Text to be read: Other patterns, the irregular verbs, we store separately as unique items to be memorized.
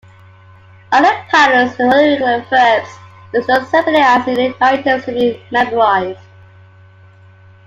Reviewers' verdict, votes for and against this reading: rejected, 1, 2